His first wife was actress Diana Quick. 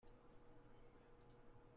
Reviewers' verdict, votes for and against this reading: rejected, 0, 2